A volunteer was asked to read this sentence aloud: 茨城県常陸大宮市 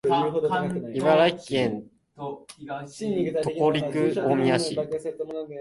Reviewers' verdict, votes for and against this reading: rejected, 1, 2